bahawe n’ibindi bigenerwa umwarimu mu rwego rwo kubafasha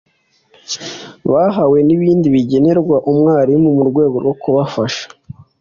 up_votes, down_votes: 2, 0